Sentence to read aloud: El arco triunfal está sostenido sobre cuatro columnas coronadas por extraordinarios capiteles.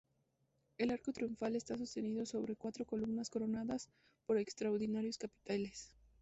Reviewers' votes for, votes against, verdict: 2, 0, accepted